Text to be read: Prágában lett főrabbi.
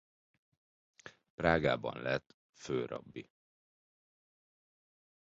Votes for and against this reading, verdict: 3, 0, accepted